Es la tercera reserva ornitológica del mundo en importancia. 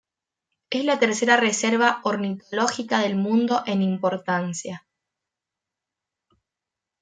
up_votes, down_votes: 2, 0